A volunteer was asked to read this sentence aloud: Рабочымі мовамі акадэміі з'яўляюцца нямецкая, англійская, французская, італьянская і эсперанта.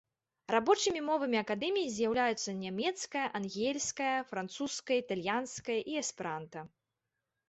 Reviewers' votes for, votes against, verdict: 2, 1, accepted